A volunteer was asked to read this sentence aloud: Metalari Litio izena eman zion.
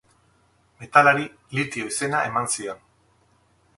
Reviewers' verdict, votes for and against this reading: accepted, 6, 0